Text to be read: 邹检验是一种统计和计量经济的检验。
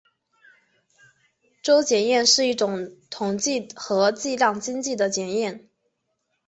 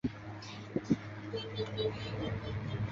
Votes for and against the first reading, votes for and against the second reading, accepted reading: 3, 0, 0, 2, first